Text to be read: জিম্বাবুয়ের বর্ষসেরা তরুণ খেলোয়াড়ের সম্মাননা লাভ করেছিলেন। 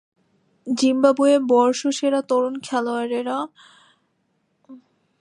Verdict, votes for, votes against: rejected, 0, 2